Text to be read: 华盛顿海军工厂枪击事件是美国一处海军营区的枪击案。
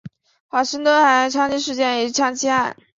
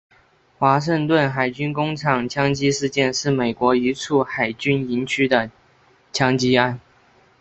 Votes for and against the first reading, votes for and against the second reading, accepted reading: 0, 4, 2, 0, second